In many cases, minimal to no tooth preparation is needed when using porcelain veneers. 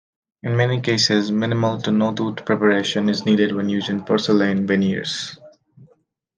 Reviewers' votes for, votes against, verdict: 2, 0, accepted